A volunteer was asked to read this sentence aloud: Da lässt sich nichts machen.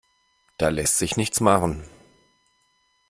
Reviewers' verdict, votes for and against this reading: accepted, 2, 0